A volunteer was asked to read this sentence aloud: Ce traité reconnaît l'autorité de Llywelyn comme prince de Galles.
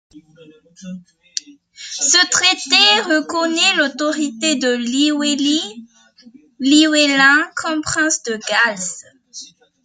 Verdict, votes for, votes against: rejected, 1, 2